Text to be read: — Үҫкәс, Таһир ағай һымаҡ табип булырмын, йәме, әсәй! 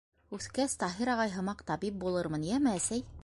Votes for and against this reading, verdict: 2, 0, accepted